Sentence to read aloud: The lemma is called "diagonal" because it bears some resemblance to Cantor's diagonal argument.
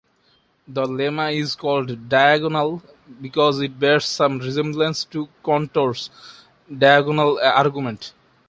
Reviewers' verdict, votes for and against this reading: rejected, 1, 2